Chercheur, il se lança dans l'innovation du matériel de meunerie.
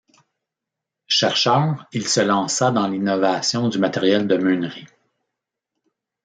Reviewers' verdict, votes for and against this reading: accepted, 2, 1